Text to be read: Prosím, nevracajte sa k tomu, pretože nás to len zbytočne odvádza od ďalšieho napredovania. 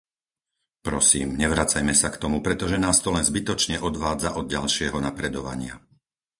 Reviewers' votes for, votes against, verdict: 2, 4, rejected